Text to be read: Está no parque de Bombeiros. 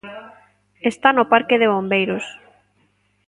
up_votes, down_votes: 0, 2